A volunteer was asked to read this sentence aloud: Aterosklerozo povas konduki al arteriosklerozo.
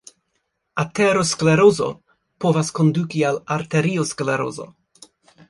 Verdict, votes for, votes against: rejected, 0, 2